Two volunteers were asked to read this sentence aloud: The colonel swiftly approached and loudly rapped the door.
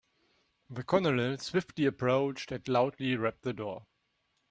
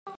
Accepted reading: first